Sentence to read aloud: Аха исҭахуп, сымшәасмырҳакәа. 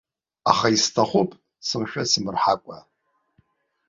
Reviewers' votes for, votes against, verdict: 2, 0, accepted